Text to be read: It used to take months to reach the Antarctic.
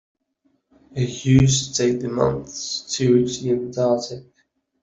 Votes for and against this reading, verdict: 0, 2, rejected